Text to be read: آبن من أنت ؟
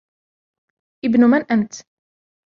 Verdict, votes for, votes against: accepted, 2, 0